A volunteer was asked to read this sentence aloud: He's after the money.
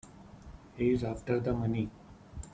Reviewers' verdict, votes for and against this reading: accepted, 2, 1